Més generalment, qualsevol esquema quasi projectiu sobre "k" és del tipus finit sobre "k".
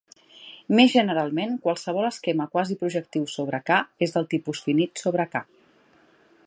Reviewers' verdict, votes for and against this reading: accepted, 2, 0